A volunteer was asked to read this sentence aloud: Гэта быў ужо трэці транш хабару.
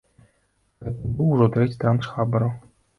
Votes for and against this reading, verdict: 1, 2, rejected